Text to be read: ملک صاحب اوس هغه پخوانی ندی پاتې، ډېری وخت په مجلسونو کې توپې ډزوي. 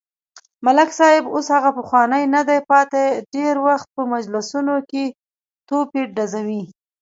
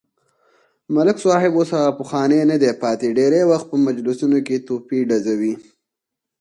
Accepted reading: first